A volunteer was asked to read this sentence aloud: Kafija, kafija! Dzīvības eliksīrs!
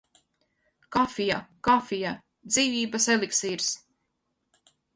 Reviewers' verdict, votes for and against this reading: accepted, 4, 0